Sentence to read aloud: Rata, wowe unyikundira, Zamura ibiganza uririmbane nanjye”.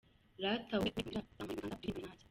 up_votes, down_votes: 1, 2